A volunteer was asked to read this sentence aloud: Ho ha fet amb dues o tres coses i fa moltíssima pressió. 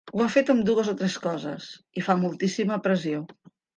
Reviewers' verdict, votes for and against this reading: accepted, 3, 1